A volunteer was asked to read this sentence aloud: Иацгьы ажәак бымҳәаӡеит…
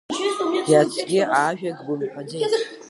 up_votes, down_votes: 2, 1